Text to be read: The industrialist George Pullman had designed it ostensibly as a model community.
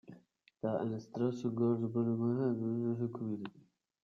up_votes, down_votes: 0, 2